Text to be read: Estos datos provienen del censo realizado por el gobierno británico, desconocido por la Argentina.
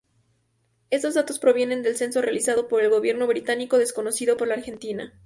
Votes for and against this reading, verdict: 0, 2, rejected